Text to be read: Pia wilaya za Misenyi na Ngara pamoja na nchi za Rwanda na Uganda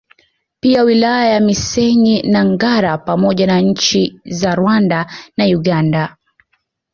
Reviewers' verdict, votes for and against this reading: rejected, 0, 2